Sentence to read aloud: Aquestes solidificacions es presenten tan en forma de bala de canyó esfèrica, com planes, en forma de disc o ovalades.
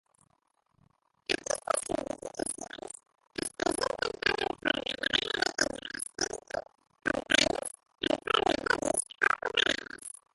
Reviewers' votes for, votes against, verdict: 0, 3, rejected